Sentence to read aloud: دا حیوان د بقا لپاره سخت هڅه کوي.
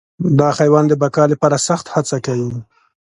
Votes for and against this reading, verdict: 2, 0, accepted